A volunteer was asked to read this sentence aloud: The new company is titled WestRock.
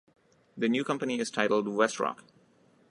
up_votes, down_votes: 2, 0